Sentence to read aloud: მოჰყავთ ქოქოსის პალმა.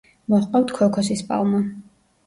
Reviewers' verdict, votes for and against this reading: rejected, 1, 2